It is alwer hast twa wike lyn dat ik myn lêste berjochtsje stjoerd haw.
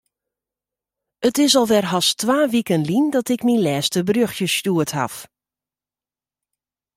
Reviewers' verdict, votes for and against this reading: rejected, 0, 2